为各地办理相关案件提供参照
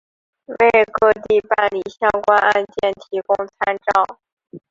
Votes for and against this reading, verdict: 3, 0, accepted